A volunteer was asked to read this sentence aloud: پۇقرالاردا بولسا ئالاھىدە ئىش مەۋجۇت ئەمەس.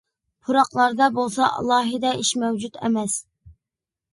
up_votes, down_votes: 0, 2